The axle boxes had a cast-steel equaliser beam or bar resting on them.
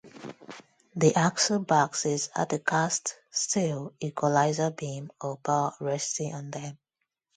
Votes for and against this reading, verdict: 2, 2, rejected